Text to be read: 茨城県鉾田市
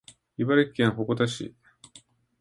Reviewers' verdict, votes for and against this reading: accepted, 2, 0